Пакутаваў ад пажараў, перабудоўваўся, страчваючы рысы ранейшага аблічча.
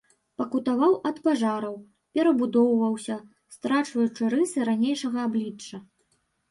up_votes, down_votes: 0, 2